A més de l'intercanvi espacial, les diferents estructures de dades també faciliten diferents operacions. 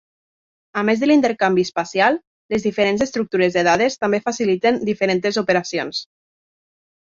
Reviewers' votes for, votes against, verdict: 0, 2, rejected